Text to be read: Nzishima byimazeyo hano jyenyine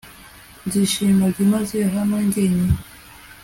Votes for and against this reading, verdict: 2, 0, accepted